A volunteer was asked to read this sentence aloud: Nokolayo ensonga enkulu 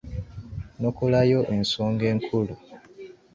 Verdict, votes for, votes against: rejected, 1, 2